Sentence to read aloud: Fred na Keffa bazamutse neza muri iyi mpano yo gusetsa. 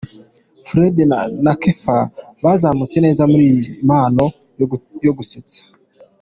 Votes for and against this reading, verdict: 1, 2, rejected